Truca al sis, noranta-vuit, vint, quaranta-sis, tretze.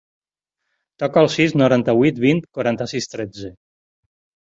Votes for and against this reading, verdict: 2, 4, rejected